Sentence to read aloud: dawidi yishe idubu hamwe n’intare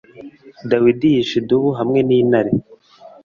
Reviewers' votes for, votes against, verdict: 2, 0, accepted